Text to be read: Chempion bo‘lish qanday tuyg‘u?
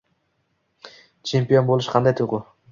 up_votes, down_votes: 2, 0